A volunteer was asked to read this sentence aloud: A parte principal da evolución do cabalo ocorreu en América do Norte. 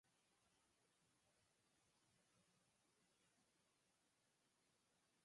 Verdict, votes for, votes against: rejected, 0, 4